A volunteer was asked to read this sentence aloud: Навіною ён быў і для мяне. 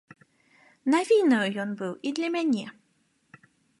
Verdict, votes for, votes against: accepted, 2, 0